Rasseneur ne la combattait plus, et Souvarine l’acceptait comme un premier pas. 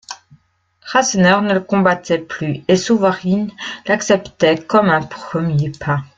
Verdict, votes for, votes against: rejected, 1, 2